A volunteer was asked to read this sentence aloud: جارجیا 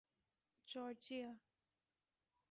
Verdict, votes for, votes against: rejected, 0, 2